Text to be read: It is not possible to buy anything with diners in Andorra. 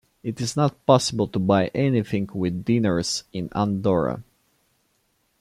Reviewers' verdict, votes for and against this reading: accepted, 2, 1